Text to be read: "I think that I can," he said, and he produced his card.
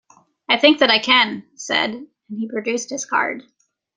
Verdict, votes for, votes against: accepted, 3, 0